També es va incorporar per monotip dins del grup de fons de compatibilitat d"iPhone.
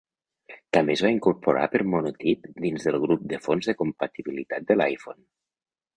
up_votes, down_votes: 0, 2